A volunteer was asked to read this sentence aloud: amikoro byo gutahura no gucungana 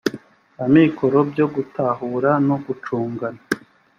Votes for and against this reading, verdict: 3, 0, accepted